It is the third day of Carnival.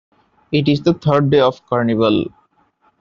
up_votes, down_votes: 2, 0